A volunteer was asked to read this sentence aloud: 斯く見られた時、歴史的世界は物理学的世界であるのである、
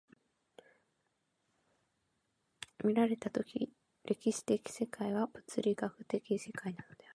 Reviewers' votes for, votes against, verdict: 0, 2, rejected